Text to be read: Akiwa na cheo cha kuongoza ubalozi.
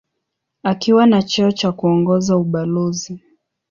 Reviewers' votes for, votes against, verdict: 2, 0, accepted